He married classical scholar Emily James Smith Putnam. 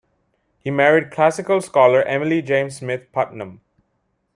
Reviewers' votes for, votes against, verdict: 2, 1, accepted